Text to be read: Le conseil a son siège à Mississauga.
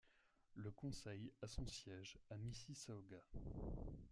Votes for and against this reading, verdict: 2, 0, accepted